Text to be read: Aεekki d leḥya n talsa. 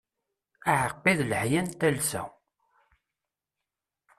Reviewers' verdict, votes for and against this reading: rejected, 1, 2